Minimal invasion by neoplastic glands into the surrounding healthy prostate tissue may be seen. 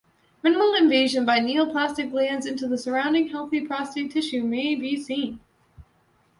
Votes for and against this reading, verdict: 2, 1, accepted